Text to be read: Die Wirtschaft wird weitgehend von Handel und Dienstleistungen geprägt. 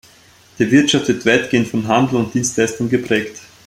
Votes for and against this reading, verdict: 1, 2, rejected